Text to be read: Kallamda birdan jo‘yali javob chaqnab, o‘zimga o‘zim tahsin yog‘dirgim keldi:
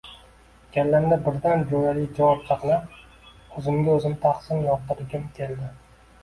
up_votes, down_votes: 2, 1